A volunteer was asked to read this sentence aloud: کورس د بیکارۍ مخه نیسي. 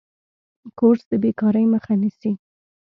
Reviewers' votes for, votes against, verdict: 2, 0, accepted